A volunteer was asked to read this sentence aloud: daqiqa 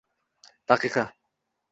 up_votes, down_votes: 2, 0